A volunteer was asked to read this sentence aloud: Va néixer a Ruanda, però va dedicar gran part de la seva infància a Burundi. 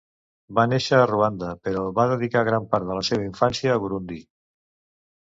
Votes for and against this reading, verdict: 2, 0, accepted